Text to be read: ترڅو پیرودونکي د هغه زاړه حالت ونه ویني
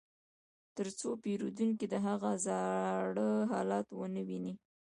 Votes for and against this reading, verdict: 2, 0, accepted